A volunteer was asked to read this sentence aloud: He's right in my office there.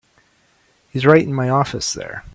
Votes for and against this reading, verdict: 3, 0, accepted